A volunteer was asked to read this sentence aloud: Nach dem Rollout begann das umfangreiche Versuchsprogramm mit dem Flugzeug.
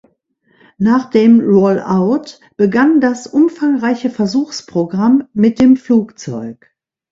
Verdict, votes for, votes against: accepted, 2, 0